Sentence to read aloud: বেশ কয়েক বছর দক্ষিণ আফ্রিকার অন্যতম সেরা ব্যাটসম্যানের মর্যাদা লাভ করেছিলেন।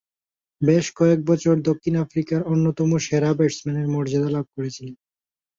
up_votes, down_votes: 2, 0